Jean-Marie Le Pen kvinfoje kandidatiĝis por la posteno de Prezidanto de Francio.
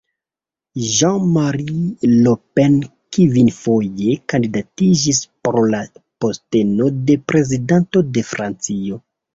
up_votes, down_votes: 2, 1